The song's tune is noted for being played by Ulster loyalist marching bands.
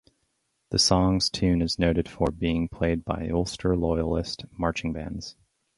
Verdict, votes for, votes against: rejected, 2, 2